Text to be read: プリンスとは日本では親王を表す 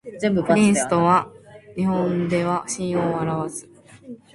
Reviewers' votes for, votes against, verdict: 2, 0, accepted